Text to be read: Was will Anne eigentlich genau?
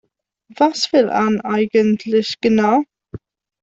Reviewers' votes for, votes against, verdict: 1, 2, rejected